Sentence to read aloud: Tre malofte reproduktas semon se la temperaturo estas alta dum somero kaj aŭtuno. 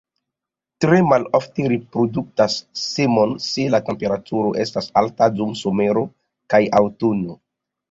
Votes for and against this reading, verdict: 1, 2, rejected